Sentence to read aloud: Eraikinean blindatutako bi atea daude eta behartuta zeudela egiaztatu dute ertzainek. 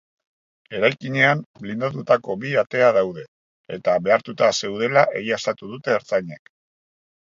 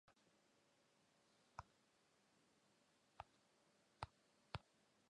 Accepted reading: first